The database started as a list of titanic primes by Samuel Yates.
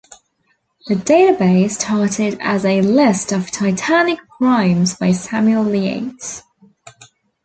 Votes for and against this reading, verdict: 2, 0, accepted